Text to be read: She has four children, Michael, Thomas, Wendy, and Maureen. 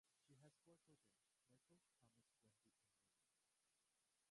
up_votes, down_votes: 0, 2